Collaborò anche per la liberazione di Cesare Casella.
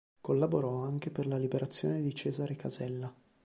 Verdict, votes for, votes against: accepted, 2, 0